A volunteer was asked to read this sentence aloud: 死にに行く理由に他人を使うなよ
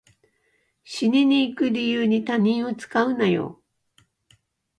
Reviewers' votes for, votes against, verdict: 2, 1, accepted